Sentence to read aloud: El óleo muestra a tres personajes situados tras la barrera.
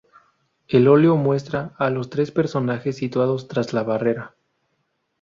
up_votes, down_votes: 2, 0